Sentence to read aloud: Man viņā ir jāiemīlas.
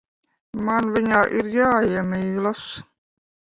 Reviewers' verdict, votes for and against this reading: rejected, 0, 2